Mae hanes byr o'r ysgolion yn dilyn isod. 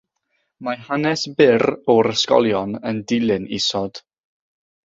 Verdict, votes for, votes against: accepted, 6, 0